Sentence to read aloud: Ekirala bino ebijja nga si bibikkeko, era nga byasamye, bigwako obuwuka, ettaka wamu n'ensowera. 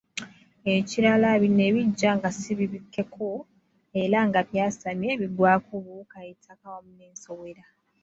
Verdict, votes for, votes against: accepted, 2, 1